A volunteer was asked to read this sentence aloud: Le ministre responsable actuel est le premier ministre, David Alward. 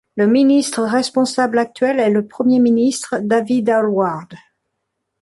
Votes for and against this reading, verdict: 2, 0, accepted